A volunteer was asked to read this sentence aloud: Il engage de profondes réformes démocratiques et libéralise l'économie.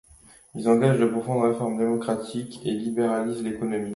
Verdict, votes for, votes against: accepted, 2, 1